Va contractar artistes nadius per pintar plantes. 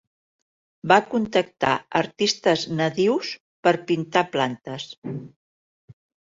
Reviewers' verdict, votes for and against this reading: rejected, 0, 2